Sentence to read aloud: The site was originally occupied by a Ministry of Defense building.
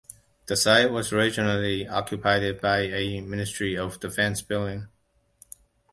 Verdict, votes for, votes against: accepted, 2, 0